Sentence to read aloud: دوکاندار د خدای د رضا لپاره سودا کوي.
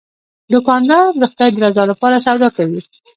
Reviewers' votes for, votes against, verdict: 1, 2, rejected